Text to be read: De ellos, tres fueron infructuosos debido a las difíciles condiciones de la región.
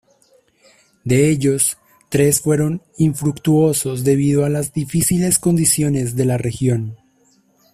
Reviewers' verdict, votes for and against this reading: accepted, 2, 0